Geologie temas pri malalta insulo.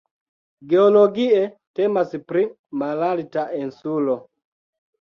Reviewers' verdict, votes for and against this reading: rejected, 1, 2